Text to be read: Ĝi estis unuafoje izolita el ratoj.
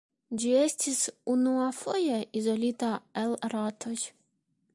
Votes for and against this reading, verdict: 2, 1, accepted